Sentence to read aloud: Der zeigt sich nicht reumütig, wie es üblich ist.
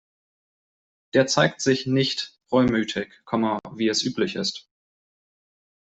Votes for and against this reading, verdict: 0, 2, rejected